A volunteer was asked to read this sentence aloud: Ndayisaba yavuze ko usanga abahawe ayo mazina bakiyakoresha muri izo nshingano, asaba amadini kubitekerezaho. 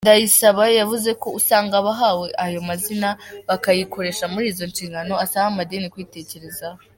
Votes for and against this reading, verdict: 3, 0, accepted